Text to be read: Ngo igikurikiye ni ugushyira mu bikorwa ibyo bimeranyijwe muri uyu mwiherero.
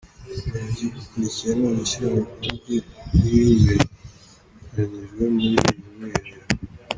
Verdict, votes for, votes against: rejected, 0, 2